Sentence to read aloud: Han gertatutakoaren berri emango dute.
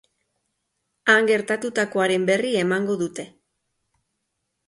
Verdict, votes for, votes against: accepted, 2, 0